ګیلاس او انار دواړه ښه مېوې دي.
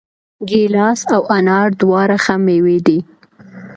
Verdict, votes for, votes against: accepted, 2, 0